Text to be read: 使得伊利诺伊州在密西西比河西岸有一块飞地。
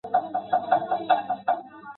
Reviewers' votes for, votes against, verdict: 0, 3, rejected